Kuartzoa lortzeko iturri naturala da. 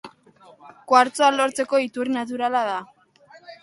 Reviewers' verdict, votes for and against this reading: accepted, 2, 1